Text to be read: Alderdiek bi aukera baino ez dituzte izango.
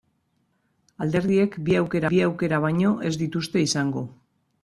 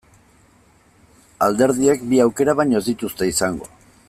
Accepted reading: second